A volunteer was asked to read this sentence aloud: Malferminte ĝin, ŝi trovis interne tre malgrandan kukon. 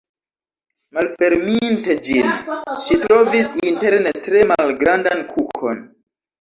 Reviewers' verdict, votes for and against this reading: rejected, 0, 2